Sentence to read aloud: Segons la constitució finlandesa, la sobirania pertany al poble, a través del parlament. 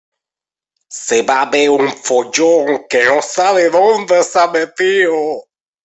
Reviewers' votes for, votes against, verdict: 0, 2, rejected